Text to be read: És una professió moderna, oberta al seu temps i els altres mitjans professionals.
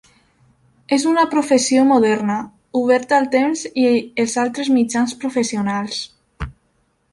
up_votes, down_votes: 0, 2